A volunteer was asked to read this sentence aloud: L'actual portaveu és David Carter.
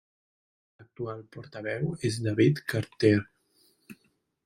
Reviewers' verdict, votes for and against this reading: rejected, 0, 2